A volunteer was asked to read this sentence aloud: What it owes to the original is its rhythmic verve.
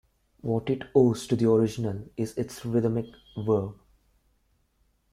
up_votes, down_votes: 0, 2